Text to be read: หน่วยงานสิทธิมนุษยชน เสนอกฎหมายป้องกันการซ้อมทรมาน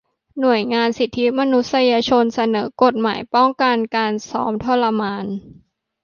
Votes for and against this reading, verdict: 2, 0, accepted